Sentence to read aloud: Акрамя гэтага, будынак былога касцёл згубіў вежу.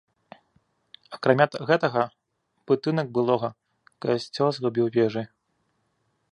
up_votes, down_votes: 1, 2